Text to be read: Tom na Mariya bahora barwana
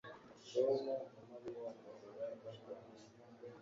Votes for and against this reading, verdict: 0, 2, rejected